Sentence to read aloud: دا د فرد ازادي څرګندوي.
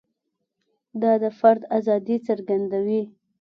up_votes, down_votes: 2, 0